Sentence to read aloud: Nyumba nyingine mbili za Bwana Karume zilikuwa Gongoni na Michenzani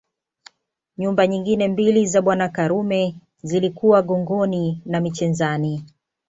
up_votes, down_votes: 2, 0